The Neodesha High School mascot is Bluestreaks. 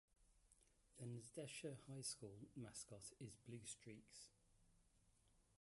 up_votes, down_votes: 1, 2